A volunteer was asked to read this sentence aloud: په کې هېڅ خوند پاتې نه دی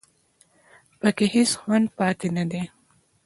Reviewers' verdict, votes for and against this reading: accepted, 2, 0